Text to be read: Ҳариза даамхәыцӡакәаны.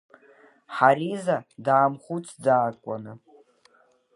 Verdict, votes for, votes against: accepted, 2, 0